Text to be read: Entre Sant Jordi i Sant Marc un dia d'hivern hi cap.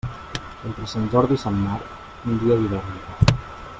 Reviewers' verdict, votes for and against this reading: rejected, 1, 2